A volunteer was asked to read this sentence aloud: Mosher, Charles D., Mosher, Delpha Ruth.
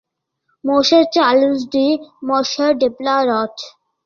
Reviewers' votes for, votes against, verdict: 1, 2, rejected